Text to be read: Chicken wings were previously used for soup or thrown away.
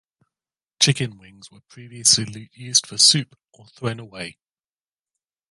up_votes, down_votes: 1, 2